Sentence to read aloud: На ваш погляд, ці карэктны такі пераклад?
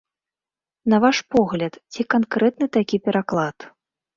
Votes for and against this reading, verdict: 1, 2, rejected